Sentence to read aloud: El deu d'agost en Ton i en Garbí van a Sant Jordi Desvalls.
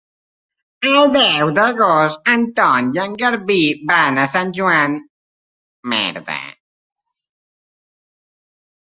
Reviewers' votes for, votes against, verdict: 0, 4, rejected